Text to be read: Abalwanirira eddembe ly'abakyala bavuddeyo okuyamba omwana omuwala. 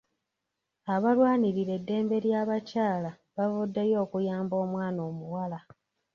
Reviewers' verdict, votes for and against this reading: accepted, 2, 0